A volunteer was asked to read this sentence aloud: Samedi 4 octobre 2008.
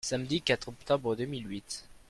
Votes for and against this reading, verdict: 0, 2, rejected